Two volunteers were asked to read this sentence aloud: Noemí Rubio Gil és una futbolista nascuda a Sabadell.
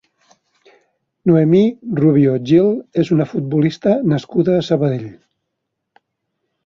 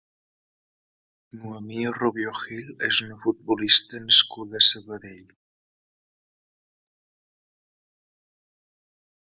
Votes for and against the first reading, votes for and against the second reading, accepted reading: 3, 0, 1, 2, first